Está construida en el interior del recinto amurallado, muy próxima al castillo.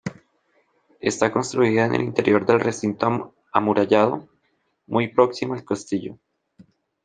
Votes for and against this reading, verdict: 2, 0, accepted